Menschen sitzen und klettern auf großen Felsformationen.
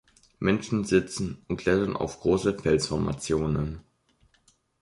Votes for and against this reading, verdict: 2, 1, accepted